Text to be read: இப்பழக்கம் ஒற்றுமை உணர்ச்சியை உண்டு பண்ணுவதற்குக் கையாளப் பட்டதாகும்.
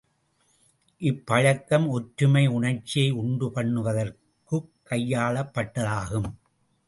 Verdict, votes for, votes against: accepted, 2, 0